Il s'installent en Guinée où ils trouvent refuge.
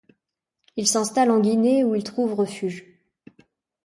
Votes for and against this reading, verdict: 2, 0, accepted